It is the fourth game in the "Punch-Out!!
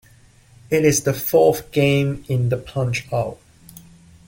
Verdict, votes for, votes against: accepted, 2, 0